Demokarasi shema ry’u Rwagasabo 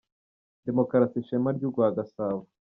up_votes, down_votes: 0, 2